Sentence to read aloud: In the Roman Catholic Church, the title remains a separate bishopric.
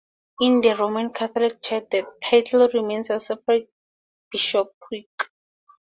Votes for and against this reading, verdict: 2, 0, accepted